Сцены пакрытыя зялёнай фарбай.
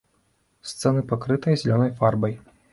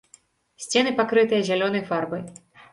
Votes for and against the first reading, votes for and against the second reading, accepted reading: 0, 2, 2, 0, second